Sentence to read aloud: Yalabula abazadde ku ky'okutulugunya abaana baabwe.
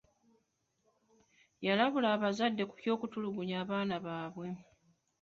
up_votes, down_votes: 2, 1